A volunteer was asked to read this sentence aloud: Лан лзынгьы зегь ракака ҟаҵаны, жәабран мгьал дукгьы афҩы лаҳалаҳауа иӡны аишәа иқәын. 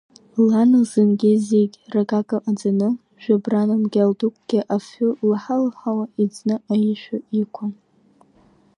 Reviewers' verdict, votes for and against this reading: accepted, 2, 0